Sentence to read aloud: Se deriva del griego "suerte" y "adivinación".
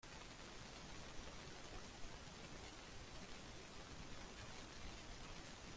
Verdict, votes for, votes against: rejected, 0, 2